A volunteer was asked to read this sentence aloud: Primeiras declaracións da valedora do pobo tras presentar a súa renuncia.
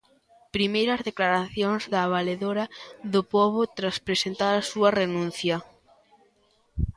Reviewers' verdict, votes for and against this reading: accepted, 3, 0